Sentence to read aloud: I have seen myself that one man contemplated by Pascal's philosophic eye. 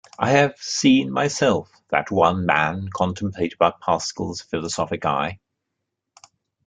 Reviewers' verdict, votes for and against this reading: accepted, 2, 0